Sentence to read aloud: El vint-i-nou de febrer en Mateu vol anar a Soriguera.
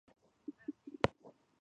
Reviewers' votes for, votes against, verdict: 0, 2, rejected